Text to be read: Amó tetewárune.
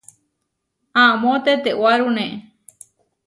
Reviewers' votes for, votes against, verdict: 2, 0, accepted